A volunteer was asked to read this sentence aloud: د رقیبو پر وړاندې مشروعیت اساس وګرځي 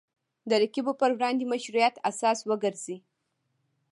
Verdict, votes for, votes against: rejected, 1, 2